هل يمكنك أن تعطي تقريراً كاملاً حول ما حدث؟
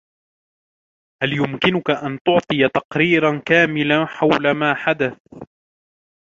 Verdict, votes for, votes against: accepted, 2, 1